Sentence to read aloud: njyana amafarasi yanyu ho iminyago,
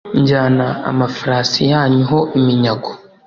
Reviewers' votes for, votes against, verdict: 2, 0, accepted